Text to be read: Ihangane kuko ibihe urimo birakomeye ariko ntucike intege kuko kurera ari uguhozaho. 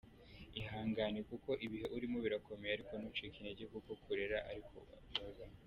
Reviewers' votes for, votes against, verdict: 1, 2, rejected